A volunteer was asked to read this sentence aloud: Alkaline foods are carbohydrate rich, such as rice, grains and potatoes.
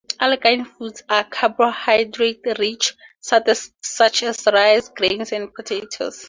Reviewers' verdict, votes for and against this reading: rejected, 0, 2